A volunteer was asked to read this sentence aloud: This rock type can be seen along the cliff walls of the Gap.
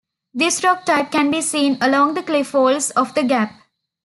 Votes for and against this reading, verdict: 2, 0, accepted